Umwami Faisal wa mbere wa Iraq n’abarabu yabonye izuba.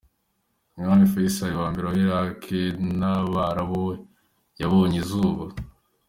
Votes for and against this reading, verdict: 2, 1, accepted